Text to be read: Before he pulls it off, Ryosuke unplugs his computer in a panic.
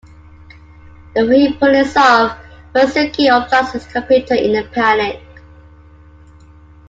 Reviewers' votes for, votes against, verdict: 2, 1, accepted